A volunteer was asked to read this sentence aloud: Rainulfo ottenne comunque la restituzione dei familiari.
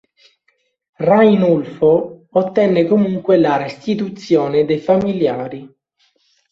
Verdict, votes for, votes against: accepted, 3, 0